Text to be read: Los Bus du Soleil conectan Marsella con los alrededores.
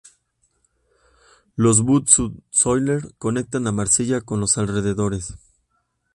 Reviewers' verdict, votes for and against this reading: rejected, 0, 2